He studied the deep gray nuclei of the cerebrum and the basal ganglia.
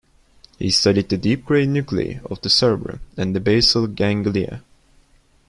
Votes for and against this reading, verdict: 1, 2, rejected